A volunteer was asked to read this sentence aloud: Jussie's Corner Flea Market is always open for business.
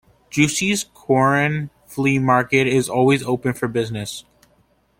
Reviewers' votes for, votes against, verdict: 0, 2, rejected